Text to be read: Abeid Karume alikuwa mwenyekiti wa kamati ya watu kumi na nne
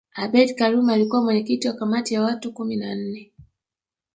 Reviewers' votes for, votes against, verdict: 0, 2, rejected